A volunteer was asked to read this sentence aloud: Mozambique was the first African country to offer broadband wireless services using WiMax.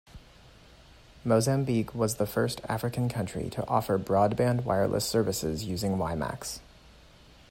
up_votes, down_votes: 2, 0